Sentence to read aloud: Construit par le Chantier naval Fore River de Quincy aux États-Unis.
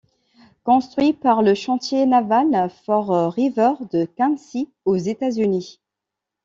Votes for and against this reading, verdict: 0, 2, rejected